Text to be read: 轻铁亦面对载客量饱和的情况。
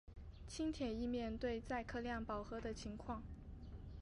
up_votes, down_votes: 4, 0